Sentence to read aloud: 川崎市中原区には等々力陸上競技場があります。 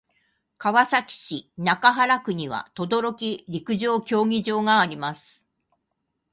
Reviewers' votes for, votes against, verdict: 2, 0, accepted